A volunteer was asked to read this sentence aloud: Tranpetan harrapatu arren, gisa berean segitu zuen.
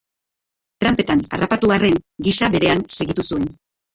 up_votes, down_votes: 0, 2